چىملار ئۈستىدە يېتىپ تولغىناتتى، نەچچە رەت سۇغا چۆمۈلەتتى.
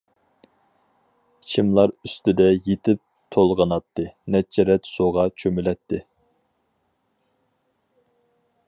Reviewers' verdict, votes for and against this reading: accepted, 4, 0